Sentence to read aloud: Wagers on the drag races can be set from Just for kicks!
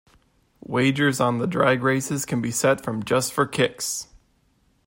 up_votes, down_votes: 2, 0